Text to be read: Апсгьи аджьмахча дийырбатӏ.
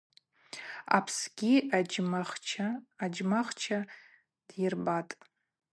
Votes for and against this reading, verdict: 0, 2, rejected